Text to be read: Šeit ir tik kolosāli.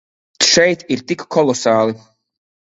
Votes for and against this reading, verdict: 3, 0, accepted